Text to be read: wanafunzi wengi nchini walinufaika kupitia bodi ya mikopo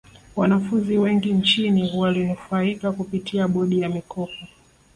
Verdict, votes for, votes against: accepted, 2, 1